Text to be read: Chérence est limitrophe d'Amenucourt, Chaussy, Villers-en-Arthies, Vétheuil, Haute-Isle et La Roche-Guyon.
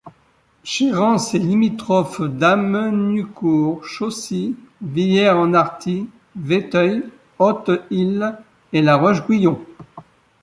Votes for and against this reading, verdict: 0, 2, rejected